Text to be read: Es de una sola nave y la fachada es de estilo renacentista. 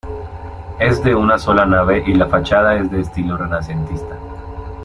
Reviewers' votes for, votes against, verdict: 2, 0, accepted